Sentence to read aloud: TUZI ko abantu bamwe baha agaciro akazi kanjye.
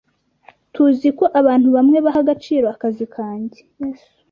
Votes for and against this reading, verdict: 0, 2, rejected